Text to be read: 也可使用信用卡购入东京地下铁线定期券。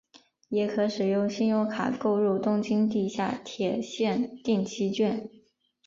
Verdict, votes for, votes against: rejected, 1, 2